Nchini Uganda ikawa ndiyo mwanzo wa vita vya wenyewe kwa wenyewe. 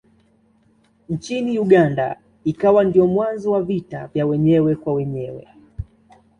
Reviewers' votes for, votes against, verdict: 2, 0, accepted